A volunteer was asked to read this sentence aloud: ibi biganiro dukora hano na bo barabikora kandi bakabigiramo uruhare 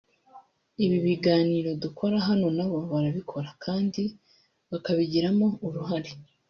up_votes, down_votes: 0, 2